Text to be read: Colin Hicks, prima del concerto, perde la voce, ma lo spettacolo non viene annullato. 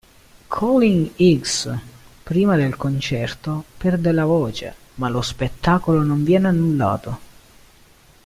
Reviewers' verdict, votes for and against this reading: accepted, 2, 0